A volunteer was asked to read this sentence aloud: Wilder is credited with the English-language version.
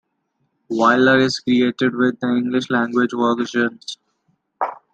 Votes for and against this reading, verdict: 1, 2, rejected